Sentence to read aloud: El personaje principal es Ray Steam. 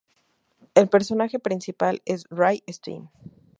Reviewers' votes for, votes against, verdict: 2, 0, accepted